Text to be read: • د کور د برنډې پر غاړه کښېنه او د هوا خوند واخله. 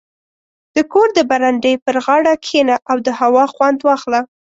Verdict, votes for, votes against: accepted, 2, 0